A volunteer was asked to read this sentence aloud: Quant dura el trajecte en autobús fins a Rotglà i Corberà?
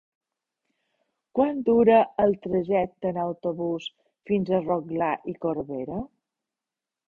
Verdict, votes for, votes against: rejected, 1, 2